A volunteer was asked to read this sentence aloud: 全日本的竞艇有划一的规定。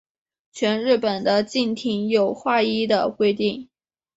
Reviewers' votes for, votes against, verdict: 1, 2, rejected